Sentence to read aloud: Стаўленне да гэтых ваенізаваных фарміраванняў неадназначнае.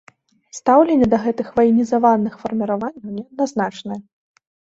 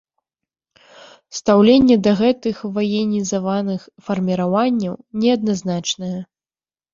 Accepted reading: first